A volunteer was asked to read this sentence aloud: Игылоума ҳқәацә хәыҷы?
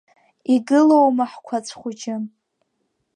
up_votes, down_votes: 2, 0